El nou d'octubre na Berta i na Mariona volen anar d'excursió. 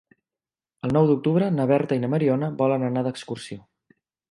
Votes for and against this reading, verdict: 3, 0, accepted